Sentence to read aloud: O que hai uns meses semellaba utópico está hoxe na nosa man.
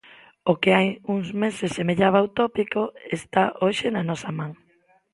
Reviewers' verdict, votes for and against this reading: accepted, 2, 0